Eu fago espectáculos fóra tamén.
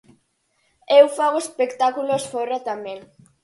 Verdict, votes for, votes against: accepted, 4, 2